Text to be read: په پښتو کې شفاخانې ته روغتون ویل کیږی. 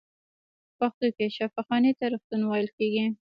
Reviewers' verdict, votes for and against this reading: rejected, 1, 2